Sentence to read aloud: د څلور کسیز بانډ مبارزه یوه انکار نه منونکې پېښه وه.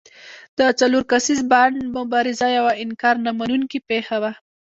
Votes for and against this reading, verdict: 0, 2, rejected